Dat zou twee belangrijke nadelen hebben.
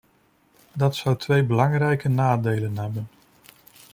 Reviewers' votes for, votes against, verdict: 2, 0, accepted